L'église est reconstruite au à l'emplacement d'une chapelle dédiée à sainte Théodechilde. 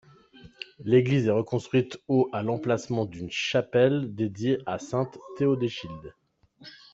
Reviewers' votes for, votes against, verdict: 2, 1, accepted